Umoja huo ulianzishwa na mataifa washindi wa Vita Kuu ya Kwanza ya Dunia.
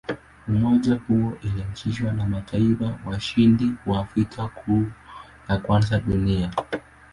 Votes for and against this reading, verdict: 5, 6, rejected